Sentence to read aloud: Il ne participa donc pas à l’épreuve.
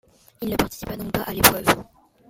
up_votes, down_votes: 1, 2